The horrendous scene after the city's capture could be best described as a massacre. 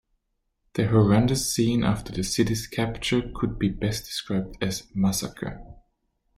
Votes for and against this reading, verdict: 2, 1, accepted